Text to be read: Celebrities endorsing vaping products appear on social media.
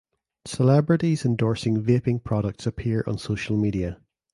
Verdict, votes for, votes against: accepted, 2, 0